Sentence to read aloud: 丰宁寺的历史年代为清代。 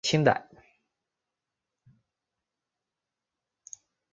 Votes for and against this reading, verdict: 0, 4, rejected